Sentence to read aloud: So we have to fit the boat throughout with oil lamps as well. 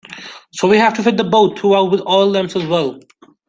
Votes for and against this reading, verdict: 1, 2, rejected